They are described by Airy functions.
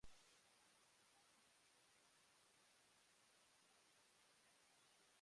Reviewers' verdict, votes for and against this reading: rejected, 0, 2